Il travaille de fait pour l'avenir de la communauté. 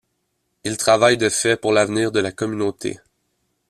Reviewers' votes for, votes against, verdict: 1, 2, rejected